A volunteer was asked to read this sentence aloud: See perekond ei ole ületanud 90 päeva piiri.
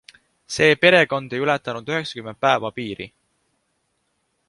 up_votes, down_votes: 0, 2